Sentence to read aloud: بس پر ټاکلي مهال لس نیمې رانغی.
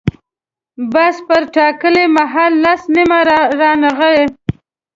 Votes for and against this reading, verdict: 1, 2, rejected